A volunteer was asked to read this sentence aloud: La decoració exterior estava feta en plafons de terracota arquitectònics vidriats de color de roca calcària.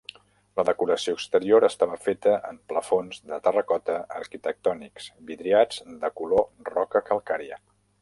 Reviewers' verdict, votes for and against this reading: rejected, 1, 2